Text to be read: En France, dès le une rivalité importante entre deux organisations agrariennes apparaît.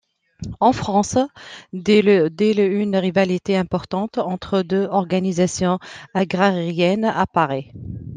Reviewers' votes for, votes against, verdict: 0, 2, rejected